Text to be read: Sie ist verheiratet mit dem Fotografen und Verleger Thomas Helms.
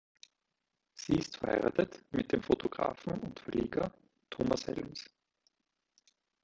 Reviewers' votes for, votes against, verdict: 2, 0, accepted